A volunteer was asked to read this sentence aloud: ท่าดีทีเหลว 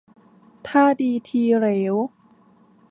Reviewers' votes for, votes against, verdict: 1, 2, rejected